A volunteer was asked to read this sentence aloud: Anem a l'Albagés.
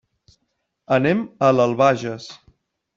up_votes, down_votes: 3, 1